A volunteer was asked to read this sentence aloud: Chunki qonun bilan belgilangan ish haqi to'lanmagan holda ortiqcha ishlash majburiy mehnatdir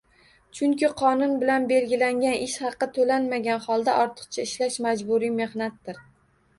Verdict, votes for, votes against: rejected, 1, 2